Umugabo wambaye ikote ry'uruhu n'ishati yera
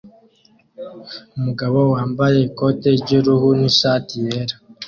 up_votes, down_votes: 2, 0